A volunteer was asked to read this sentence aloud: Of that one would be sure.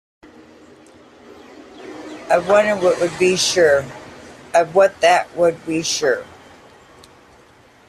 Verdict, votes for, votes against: rejected, 0, 2